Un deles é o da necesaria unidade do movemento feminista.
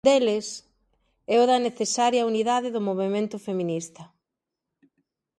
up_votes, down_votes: 0, 2